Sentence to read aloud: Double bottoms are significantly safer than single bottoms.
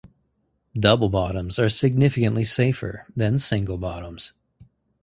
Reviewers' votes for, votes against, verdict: 4, 0, accepted